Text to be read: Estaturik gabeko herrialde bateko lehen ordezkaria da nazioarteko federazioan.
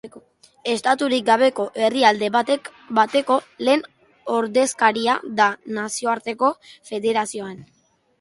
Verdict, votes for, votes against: rejected, 1, 3